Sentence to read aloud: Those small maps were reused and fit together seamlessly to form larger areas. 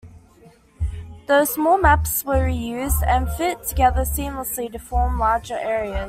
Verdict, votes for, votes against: rejected, 1, 2